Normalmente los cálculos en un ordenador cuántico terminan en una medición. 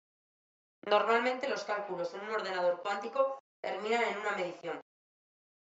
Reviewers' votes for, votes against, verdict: 2, 0, accepted